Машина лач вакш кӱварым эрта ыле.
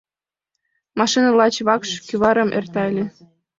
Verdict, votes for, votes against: accepted, 2, 0